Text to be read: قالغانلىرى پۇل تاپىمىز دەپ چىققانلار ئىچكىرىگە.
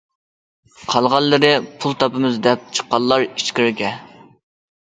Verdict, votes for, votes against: accepted, 2, 0